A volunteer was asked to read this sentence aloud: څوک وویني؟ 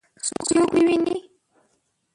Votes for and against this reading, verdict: 1, 2, rejected